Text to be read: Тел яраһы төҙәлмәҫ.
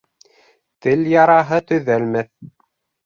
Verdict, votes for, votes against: accepted, 3, 0